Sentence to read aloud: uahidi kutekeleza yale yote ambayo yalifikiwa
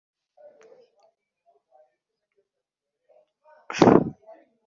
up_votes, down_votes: 0, 2